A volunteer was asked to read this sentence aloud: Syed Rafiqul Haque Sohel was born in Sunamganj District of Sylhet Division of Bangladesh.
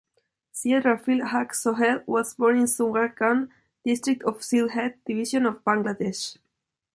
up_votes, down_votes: 2, 0